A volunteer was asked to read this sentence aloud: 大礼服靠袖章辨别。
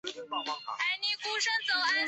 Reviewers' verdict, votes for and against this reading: rejected, 0, 3